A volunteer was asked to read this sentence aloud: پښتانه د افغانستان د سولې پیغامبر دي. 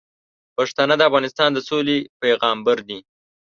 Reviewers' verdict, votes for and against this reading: accepted, 2, 0